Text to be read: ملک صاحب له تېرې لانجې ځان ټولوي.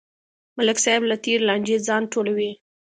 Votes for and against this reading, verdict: 2, 0, accepted